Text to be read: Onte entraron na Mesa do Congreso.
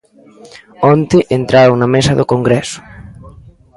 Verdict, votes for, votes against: rejected, 0, 2